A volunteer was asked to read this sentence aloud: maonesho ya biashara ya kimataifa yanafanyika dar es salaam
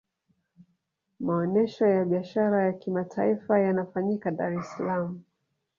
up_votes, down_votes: 2, 0